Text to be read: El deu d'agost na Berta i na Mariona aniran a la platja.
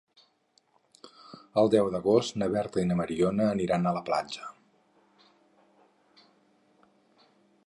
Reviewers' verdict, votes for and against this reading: accepted, 6, 0